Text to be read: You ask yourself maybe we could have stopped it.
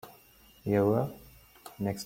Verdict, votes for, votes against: rejected, 0, 2